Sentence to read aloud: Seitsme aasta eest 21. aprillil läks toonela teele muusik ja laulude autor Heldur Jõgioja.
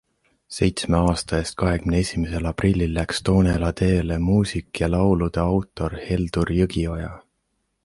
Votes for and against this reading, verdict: 0, 2, rejected